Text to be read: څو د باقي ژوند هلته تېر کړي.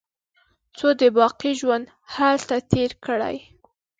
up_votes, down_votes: 2, 0